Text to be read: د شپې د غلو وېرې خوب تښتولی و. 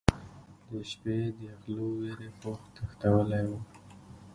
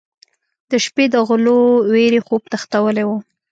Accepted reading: second